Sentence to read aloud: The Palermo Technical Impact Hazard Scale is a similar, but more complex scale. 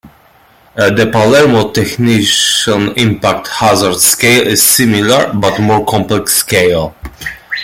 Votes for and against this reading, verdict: 0, 2, rejected